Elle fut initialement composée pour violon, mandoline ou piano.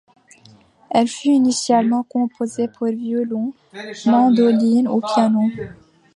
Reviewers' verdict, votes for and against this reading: rejected, 0, 2